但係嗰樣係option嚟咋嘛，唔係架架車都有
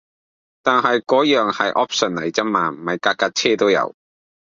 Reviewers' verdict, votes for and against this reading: rejected, 0, 2